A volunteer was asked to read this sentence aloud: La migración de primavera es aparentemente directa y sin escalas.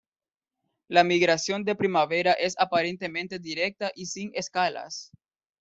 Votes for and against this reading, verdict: 2, 0, accepted